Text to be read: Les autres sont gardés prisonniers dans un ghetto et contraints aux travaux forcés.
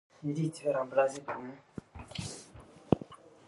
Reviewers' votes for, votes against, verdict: 0, 2, rejected